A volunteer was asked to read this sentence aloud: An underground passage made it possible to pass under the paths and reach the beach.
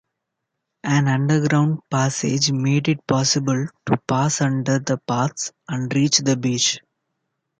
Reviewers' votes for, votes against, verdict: 2, 0, accepted